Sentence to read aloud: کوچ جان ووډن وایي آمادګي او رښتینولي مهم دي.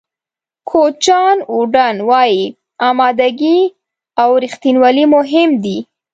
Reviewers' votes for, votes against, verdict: 2, 0, accepted